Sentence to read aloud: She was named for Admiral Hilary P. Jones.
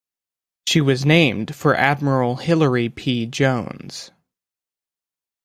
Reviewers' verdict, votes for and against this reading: accepted, 2, 0